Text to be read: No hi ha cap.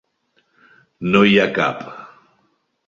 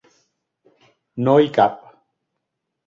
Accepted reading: first